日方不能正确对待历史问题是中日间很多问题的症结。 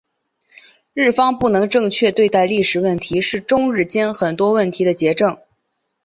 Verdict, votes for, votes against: rejected, 0, 2